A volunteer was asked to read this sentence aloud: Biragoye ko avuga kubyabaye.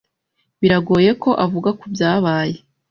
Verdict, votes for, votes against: accepted, 2, 0